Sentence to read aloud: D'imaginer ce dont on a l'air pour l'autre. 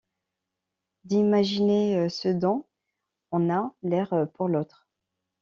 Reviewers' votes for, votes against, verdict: 2, 0, accepted